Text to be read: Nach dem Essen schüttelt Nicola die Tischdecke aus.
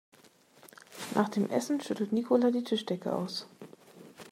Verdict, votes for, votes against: accepted, 2, 0